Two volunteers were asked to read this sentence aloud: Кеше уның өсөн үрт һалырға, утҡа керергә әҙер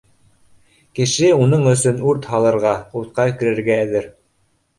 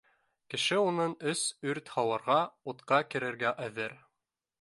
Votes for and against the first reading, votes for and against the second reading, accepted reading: 2, 0, 1, 2, first